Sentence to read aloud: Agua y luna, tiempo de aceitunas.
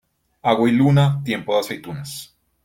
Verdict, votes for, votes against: accepted, 2, 0